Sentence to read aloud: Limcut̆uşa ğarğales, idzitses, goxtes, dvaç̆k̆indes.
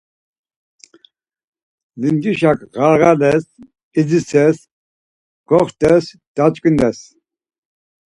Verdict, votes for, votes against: rejected, 0, 4